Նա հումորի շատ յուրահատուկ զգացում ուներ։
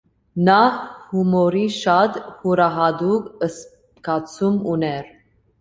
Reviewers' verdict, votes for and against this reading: rejected, 0, 2